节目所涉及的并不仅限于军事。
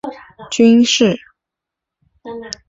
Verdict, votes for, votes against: rejected, 2, 3